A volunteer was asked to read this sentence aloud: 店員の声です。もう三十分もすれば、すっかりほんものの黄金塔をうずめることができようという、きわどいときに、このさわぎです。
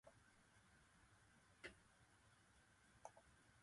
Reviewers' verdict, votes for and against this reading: rejected, 0, 3